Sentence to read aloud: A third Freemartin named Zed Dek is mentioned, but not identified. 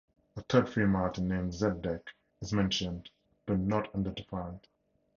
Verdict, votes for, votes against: rejected, 0, 2